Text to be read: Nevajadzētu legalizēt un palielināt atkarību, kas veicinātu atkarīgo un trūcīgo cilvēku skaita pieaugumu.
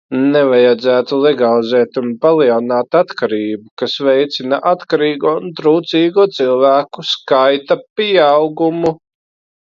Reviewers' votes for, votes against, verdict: 0, 2, rejected